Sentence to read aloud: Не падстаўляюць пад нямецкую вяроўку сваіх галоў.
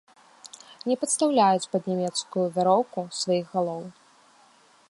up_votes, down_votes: 2, 0